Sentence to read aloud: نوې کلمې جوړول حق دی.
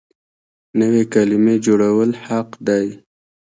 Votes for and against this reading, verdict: 2, 1, accepted